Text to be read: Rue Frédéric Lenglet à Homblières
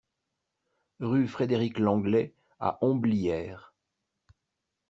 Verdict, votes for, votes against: accepted, 2, 0